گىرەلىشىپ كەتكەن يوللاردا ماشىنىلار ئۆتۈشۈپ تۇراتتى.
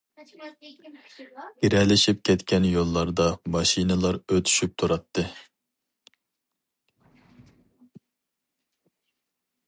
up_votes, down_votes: 2, 2